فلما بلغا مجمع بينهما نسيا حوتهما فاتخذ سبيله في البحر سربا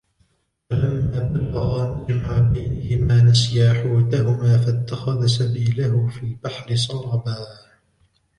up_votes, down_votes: 1, 2